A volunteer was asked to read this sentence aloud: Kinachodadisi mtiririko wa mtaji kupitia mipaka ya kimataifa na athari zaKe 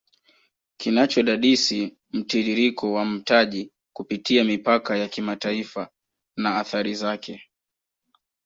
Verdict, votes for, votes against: accepted, 2, 0